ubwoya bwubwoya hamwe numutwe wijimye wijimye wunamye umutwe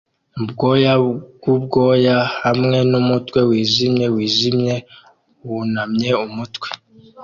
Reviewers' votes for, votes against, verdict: 2, 0, accepted